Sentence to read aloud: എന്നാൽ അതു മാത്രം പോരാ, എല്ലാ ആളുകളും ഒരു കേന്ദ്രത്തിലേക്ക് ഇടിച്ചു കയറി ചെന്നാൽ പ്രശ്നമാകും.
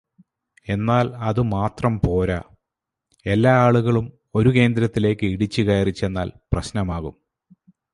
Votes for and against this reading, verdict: 2, 0, accepted